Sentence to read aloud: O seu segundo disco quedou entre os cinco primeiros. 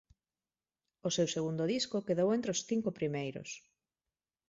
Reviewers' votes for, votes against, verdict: 2, 0, accepted